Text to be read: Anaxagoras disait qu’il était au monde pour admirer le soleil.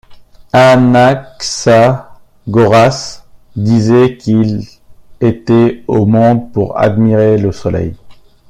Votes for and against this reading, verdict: 1, 2, rejected